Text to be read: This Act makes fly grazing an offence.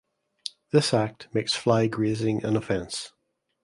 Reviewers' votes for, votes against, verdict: 2, 0, accepted